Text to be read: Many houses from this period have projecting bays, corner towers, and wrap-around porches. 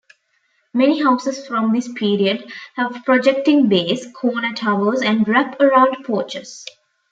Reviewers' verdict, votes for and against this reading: accepted, 2, 0